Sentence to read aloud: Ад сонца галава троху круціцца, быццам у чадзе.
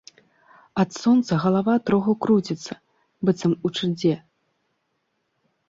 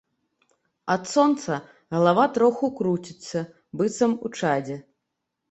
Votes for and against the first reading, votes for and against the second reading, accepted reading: 0, 2, 3, 0, second